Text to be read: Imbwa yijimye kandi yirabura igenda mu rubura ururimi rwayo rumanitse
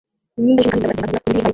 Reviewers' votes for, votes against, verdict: 0, 2, rejected